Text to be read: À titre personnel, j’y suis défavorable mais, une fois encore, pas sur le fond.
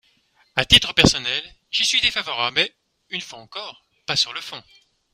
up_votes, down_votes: 2, 0